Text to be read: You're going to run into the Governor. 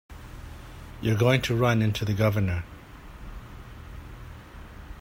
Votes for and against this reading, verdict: 3, 0, accepted